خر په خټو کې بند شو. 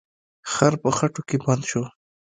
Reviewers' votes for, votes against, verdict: 3, 0, accepted